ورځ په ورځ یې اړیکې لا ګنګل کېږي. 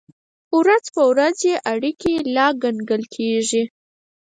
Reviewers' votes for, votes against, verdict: 0, 4, rejected